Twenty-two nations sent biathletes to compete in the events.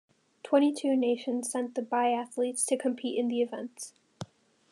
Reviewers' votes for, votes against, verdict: 2, 0, accepted